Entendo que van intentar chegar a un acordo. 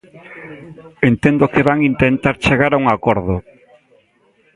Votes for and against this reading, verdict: 2, 0, accepted